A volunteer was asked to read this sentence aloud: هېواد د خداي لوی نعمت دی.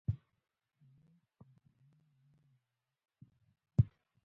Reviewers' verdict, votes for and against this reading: rejected, 0, 3